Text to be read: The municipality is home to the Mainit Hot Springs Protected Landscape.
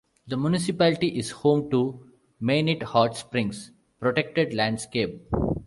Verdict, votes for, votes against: accepted, 2, 0